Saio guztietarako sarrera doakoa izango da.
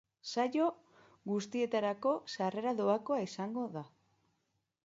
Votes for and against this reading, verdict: 2, 0, accepted